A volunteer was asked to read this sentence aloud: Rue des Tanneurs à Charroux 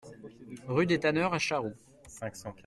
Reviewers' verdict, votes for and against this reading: accepted, 2, 0